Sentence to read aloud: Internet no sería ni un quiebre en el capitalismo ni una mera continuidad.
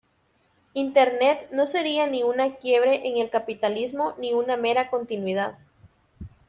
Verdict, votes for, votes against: rejected, 1, 2